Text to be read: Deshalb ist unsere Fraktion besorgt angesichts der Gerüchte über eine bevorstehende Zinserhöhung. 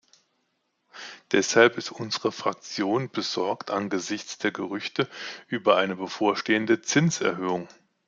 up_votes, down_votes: 2, 0